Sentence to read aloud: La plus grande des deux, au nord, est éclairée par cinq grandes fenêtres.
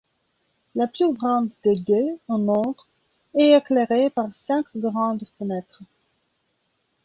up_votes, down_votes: 2, 1